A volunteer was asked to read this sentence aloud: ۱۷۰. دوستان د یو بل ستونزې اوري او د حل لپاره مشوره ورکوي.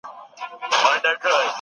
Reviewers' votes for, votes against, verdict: 0, 2, rejected